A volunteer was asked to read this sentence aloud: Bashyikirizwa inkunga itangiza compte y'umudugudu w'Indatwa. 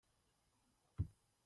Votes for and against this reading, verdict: 0, 2, rejected